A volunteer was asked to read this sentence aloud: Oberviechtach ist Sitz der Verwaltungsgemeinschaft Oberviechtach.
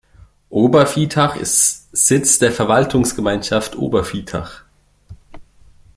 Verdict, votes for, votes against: rejected, 0, 2